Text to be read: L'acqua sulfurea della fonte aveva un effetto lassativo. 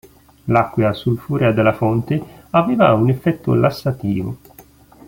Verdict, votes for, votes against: rejected, 0, 2